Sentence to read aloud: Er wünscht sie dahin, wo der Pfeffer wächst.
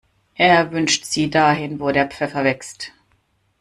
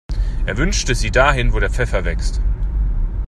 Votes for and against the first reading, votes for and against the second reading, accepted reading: 2, 0, 0, 2, first